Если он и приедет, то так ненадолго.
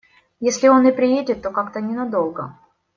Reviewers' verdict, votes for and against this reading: rejected, 1, 2